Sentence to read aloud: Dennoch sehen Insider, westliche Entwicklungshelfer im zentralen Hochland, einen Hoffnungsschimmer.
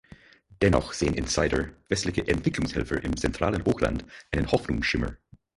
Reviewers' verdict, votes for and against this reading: rejected, 2, 4